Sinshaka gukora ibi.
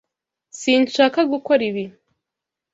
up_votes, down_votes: 2, 0